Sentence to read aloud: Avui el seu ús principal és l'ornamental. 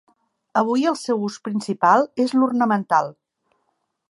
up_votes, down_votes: 3, 0